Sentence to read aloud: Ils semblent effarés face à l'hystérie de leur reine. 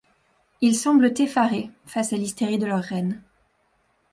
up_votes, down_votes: 2, 0